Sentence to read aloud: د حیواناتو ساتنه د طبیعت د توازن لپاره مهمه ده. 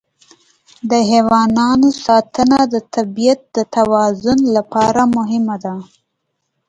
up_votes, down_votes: 2, 1